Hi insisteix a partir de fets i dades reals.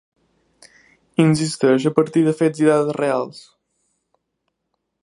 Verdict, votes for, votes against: accepted, 2, 0